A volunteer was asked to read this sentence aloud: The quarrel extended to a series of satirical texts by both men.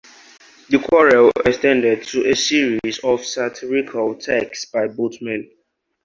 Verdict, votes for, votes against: accepted, 2, 0